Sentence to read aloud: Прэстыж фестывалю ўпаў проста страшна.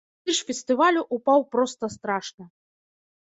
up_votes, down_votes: 0, 2